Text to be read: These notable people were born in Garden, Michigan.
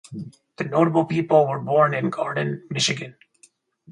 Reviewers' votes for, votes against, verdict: 0, 2, rejected